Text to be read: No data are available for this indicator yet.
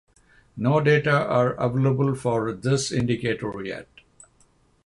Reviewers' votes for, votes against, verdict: 3, 0, accepted